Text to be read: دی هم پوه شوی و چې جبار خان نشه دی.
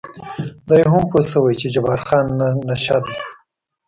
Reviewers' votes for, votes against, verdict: 1, 2, rejected